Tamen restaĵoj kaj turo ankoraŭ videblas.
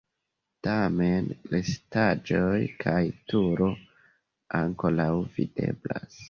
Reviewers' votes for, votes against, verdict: 2, 0, accepted